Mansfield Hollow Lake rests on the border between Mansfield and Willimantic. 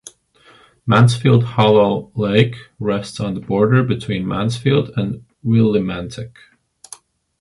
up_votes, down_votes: 2, 0